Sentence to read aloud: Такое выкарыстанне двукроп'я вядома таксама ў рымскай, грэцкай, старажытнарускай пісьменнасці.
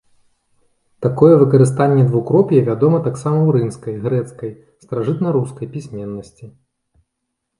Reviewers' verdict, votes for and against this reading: accepted, 2, 0